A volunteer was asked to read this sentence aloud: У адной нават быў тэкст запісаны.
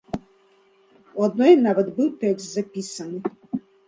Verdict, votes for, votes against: accepted, 2, 1